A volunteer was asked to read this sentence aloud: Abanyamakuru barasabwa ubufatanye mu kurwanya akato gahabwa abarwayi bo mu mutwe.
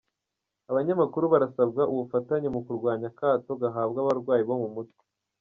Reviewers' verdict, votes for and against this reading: rejected, 1, 3